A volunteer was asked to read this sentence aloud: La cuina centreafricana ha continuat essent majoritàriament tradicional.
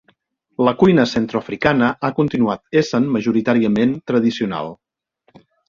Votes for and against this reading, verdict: 1, 2, rejected